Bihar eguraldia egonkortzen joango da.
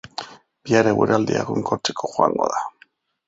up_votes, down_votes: 0, 2